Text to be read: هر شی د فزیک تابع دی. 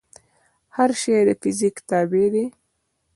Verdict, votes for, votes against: rejected, 0, 2